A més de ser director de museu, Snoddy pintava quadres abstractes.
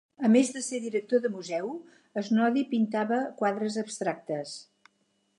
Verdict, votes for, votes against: accepted, 4, 0